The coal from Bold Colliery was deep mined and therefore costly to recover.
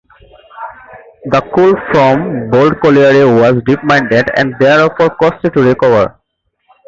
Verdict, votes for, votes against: rejected, 0, 2